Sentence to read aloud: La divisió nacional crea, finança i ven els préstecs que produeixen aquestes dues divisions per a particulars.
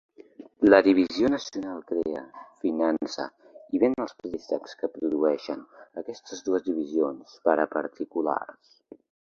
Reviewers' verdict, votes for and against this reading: accepted, 2, 0